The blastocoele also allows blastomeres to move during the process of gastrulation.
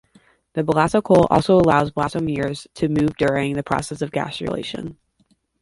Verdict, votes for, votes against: rejected, 1, 2